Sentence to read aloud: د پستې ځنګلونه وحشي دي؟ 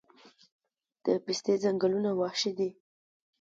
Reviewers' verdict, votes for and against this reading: accepted, 2, 0